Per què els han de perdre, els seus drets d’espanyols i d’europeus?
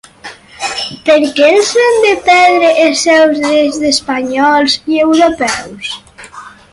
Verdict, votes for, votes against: rejected, 0, 4